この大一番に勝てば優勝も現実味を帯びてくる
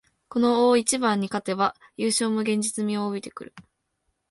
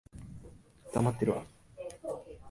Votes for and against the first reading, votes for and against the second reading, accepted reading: 2, 1, 0, 2, first